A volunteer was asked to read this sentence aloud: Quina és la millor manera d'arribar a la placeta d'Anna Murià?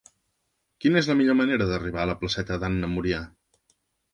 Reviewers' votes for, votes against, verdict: 2, 0, accepted